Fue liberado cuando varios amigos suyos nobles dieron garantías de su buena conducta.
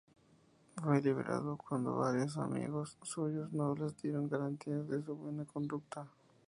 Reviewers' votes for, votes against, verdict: 0, 2, rejected